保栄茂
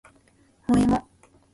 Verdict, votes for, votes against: rejected, 0, 2